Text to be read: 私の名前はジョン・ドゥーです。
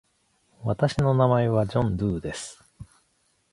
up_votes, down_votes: 2, 0